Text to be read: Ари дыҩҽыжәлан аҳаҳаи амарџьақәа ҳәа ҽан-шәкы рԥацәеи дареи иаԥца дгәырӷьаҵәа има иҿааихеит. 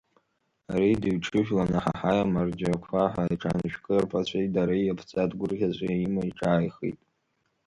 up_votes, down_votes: 1, 2